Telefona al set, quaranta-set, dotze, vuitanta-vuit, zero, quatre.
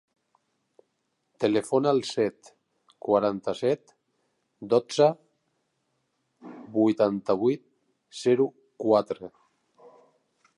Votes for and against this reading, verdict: 1, 2, rejected